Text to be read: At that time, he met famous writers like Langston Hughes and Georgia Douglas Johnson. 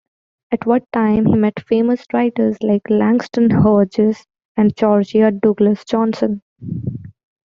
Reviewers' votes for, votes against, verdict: 1, 2, rejected